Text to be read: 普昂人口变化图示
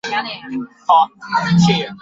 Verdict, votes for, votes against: rejected, 1, 3